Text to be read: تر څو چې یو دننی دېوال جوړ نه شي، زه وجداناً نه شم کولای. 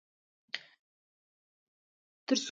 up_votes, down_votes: 0, 2